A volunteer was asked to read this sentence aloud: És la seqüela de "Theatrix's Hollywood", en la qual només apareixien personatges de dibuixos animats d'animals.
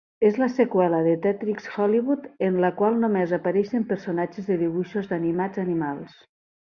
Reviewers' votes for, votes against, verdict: 2, 1, accepted